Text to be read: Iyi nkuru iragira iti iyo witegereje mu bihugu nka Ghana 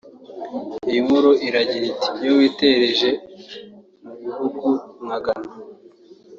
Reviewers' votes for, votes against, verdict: 1, 2, rejected